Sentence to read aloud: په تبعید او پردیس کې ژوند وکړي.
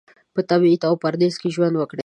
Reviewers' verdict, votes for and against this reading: accepted, 2, 0